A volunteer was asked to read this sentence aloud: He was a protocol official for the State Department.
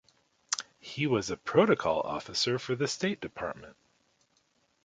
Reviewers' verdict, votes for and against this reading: rejected, 0, 2